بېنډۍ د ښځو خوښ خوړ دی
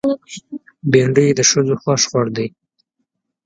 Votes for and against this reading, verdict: 3, 2, accepted